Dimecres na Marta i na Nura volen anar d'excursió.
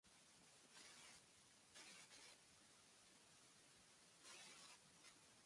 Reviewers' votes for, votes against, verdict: 0, 2, rejected